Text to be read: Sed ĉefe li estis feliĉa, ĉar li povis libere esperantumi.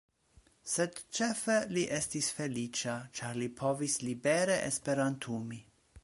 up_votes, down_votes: 2, 0